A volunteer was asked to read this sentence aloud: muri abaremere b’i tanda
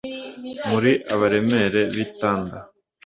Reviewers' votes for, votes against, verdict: 3, 0, accepted